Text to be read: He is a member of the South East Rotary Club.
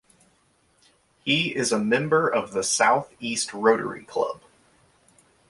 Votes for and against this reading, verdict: 2, 0, accepted